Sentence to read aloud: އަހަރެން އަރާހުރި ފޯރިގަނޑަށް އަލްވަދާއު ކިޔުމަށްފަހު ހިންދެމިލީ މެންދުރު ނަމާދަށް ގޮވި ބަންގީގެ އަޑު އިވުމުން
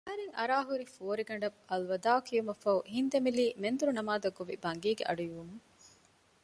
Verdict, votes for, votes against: rejected, 0, 2